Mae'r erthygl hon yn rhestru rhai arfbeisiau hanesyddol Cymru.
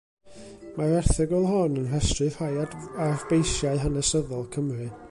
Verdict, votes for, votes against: rejected, 1, 2